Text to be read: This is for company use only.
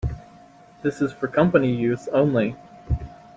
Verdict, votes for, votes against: accepted, 2, 0